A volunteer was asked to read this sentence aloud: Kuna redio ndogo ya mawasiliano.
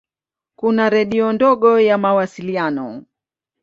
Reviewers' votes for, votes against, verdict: 2, 0, accepted